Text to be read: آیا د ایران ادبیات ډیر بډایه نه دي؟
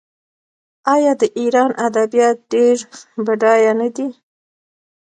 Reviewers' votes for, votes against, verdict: 2, 1, accepted